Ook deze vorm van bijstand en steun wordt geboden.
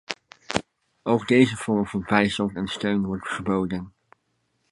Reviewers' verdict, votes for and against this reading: accepted, 2, 0